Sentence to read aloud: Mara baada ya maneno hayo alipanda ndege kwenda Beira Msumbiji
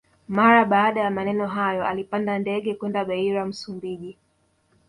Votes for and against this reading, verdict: 1, 2, rejected